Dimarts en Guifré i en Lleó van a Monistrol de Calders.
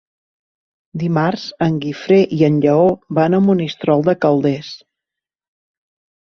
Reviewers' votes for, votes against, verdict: 3, 0, accepted